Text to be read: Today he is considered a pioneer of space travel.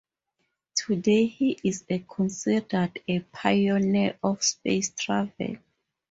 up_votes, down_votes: 4, 0